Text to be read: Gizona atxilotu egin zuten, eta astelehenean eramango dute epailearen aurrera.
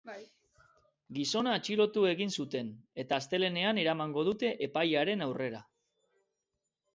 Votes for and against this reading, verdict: 1, 2, rejected